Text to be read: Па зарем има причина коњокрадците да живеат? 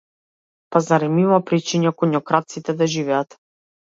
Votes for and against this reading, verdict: 0, 2, rejected